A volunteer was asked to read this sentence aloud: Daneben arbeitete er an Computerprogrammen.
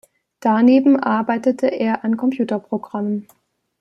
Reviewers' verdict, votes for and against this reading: accepted, 2, 0